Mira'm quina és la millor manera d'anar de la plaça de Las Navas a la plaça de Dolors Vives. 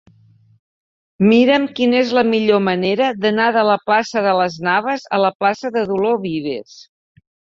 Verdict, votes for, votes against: accepted, 3, 2